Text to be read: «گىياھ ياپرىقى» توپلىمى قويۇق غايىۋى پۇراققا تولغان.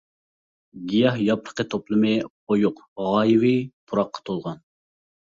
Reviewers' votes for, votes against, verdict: 3, 0, accepted